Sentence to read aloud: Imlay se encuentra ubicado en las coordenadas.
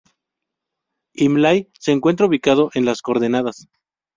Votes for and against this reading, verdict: 6, 0, accepted